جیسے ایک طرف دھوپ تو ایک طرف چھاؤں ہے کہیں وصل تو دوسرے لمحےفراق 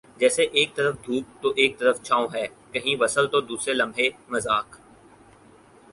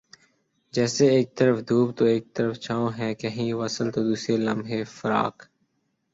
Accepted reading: second